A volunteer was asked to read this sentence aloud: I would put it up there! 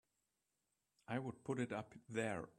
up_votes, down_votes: 1, 2